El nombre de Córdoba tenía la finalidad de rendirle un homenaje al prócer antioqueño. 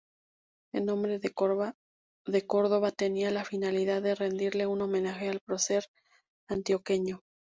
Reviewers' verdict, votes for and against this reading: rejected, 0, 2